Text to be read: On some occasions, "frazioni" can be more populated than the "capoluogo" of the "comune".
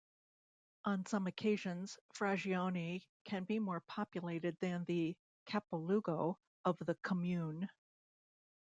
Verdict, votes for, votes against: rejected, 0, 2